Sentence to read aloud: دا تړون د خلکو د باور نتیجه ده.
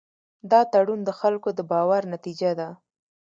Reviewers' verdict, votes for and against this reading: rejected, 1, 2